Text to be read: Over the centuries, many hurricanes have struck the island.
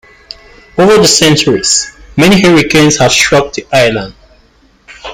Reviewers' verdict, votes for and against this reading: rejected, 1, 2